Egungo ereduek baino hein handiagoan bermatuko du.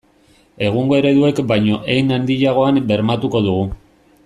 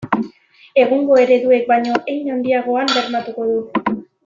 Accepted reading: second